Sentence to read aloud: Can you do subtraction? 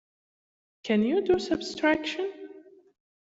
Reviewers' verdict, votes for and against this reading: rejected, 1, 2